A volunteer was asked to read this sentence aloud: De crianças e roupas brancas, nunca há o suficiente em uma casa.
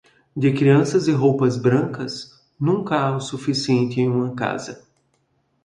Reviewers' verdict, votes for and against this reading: accepted, 2, 0